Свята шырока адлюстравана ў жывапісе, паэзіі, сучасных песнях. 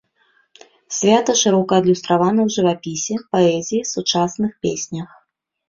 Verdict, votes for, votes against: rejected, 0, 2